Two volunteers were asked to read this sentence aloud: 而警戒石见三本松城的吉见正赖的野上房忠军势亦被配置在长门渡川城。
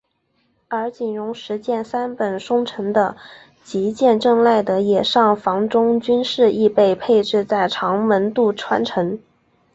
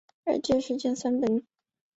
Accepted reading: first